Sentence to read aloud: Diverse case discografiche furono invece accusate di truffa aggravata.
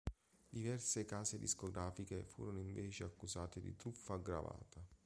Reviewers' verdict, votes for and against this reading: accepted, 2, 0